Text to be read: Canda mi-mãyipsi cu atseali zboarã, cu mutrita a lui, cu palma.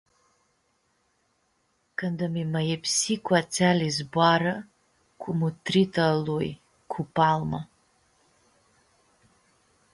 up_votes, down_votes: 2, 0